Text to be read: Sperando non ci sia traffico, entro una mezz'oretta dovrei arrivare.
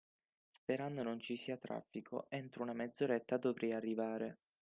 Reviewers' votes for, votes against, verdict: 6, 0, accepted